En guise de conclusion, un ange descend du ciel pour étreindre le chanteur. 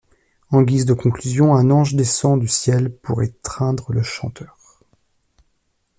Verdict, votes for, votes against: accepted, 2, 0